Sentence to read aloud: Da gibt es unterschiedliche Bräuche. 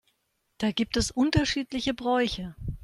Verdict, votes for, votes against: accepted, 4, 0